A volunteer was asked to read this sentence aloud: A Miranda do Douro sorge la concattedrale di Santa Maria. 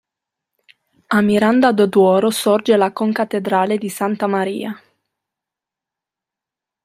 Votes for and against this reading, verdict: 1, 2, rejected